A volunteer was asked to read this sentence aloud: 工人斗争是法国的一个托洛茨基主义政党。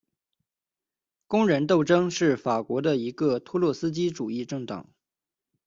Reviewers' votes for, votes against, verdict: 2, 1, accepted